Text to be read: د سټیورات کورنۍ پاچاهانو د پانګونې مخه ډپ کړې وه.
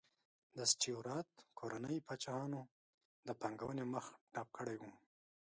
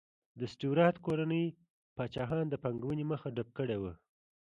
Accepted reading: second